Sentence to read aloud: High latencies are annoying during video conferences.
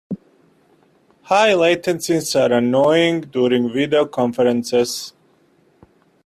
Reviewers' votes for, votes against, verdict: 1, 2, rejected